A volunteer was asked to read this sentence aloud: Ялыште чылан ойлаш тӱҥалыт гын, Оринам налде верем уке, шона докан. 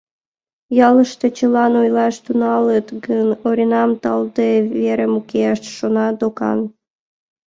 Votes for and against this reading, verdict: 0, 2, rejected